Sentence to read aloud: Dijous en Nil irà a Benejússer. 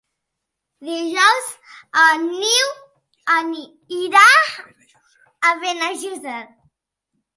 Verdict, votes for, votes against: rejected, 0, 2